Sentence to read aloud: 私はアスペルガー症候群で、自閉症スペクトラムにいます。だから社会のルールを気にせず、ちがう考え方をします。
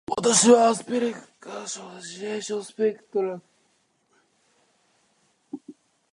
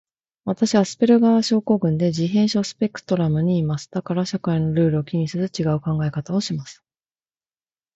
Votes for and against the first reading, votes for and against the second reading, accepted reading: 0, 2, 2, 0, second